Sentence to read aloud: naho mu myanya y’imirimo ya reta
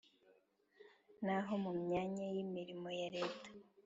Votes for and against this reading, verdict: 2, 1, accepted